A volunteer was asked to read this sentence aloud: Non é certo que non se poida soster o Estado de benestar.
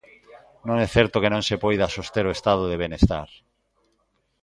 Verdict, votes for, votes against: accepted, 2, 1